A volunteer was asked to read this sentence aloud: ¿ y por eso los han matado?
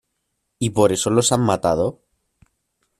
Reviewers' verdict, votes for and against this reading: accepted, 2, 0